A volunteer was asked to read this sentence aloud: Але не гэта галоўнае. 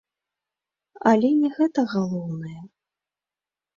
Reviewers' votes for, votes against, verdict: 2, 0, accepted